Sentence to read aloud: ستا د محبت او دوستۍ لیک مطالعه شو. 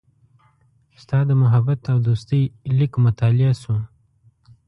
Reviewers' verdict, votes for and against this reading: accepted, 2, 0